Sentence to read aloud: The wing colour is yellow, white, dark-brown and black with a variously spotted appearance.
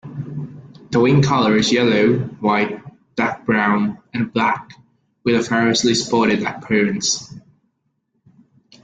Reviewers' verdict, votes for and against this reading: accepted, 2, 0